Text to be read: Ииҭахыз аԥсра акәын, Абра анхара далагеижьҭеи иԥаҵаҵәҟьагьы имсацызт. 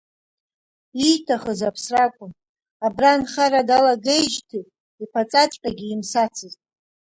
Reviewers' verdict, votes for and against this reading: rejected, 1, 2